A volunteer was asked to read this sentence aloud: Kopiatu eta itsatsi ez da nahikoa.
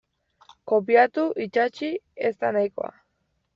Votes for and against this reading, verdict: 0, 2, rejected